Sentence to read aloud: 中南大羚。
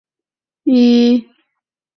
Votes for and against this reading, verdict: 0, 3, rejected